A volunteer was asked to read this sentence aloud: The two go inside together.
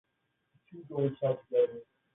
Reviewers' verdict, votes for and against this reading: rejected, 0, 3